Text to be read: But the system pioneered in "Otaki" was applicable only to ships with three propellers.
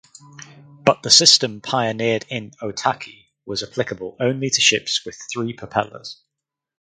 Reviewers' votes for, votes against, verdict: 4, 0, accepted